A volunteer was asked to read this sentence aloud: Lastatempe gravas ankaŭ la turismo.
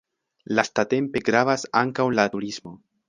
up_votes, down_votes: 0, 2